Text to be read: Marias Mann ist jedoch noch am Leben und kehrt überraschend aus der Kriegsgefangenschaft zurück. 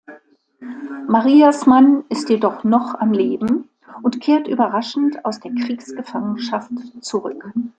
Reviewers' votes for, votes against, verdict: 2, 1, accepted